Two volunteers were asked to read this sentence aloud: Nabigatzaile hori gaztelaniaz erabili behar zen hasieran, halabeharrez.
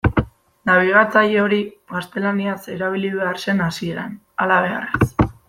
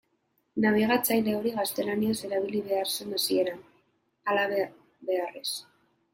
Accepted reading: first